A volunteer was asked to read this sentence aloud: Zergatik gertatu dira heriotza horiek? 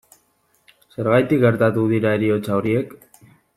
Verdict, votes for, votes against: accepted, 2, 1